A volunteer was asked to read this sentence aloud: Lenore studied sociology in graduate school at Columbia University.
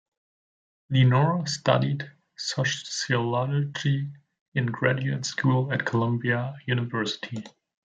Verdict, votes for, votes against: rejected, 0, 2